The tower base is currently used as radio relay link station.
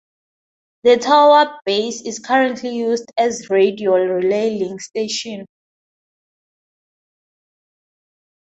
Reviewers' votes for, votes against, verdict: 2, 0, accepted